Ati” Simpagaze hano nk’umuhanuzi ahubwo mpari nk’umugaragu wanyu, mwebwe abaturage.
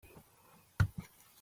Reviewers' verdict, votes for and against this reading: rejected, 0, 2